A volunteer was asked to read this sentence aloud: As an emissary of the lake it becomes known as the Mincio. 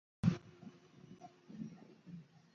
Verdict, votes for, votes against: rejected, 0, 2